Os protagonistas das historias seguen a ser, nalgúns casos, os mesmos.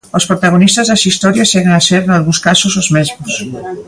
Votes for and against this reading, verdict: 2, 0, accepted